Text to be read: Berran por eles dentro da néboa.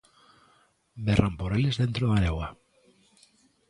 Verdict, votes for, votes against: accepted, 2, 0